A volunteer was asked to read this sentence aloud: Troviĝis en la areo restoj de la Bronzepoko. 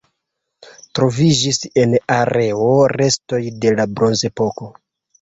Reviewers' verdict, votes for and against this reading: rejected, 0, 2